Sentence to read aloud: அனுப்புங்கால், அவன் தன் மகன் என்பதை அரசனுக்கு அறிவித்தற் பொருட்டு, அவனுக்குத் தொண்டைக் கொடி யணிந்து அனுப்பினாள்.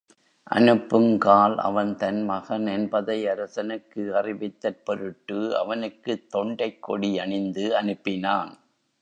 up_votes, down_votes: 2, 0